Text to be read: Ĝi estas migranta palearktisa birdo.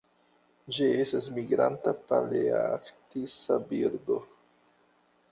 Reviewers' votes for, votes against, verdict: 2, 0, accepted